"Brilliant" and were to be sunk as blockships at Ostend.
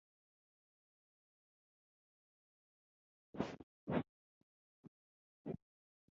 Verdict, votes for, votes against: rejected, 0, 6